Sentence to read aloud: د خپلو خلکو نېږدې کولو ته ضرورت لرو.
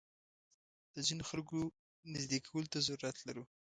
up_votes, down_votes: 0, 2